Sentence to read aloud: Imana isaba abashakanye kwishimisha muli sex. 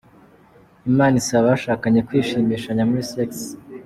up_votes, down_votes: 2, 1